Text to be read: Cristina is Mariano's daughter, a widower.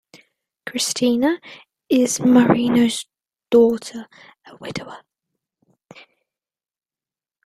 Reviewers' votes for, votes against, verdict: 2, 0, accepted